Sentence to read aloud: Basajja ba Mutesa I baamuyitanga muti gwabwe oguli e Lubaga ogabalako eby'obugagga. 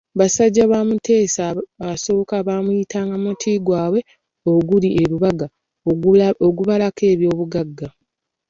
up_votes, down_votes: 2, 0